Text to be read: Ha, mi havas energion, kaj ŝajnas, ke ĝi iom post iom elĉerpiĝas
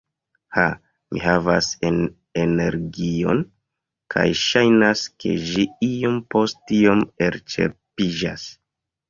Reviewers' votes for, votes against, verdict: 1, 2, rejected